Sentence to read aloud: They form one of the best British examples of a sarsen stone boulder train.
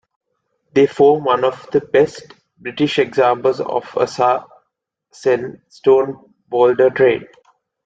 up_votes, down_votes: 0, 2